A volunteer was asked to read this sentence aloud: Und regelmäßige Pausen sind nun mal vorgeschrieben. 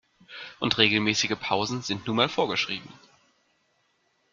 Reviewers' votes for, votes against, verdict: 2, 0, accepted